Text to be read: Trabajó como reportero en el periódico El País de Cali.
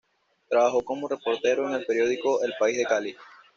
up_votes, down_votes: 2, 0